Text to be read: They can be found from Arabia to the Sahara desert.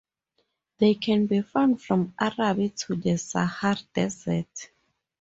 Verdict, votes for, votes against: rejected, 0, 2